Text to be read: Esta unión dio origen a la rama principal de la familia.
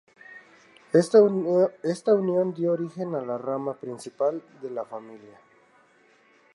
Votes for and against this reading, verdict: 0, 4, rejected